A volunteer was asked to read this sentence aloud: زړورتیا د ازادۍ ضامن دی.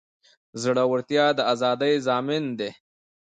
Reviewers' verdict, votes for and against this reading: rejected, 0, 2